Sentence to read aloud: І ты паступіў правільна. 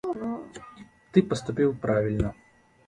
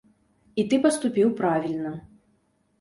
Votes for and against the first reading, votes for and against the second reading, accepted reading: 1, 2, 2, 0, second